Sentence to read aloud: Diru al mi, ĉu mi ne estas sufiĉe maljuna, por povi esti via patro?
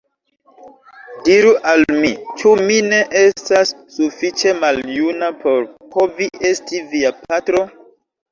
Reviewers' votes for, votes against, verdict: 0, 3, rejected